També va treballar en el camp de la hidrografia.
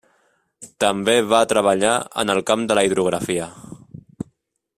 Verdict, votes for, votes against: accepted, 3, 0